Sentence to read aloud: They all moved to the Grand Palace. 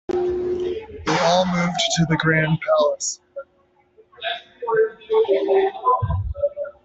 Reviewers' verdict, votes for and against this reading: rejected, 0, 2